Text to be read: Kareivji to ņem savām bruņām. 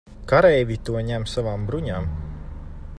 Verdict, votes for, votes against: accepted, 2, 0